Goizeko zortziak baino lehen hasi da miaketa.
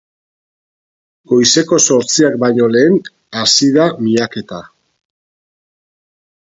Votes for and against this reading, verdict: 12, 0, accepted